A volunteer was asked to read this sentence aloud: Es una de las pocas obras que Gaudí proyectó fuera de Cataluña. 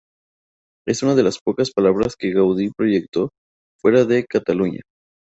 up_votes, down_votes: 0, 2